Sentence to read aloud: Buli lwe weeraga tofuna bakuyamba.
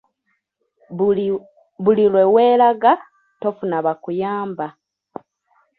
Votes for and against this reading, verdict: 2, 3, rejected